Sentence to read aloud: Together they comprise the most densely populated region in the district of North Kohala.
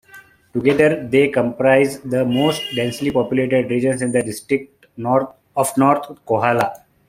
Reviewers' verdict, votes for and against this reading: rejected, 1, 2